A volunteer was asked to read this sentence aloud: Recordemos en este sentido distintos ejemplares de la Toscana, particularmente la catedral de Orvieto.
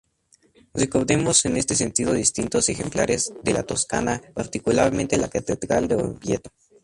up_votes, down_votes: 2, 0